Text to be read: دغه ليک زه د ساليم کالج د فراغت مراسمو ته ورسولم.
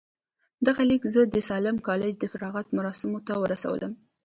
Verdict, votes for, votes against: accepted, 2, 0